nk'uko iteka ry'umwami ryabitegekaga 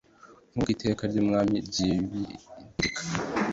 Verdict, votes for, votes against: rejected, 0, 2